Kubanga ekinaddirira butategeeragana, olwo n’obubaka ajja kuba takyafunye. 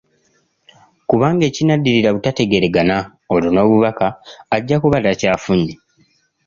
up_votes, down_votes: 2, 0